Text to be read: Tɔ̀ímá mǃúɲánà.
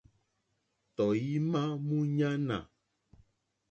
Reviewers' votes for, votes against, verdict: 2, 0, accepted